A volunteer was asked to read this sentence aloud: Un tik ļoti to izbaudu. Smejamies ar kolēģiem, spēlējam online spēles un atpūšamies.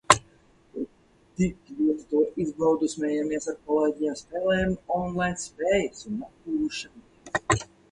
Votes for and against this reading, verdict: 0, 4, rejected